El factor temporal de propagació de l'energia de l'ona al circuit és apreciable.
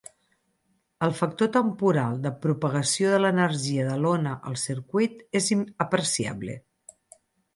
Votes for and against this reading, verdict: 0, 4, rejected